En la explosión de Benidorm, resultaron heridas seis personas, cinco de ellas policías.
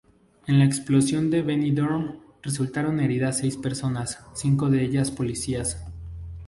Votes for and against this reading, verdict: 0, 2, rejected